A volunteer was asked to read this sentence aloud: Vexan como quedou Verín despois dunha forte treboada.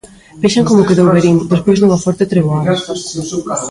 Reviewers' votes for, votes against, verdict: 0, 2, rejected